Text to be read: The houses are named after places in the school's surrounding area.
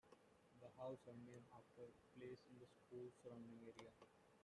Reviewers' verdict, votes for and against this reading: rejected, 1, 2